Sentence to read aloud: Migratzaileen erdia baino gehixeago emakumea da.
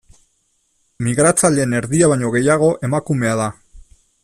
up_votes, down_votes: 0, 2